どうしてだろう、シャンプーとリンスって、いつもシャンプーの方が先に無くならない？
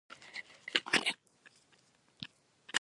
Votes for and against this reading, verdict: 0, 2, rejected